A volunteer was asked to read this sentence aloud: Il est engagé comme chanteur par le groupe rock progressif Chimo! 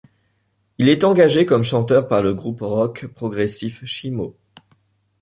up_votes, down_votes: 2, 0